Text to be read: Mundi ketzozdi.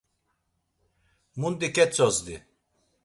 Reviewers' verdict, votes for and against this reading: accepted, 2, 0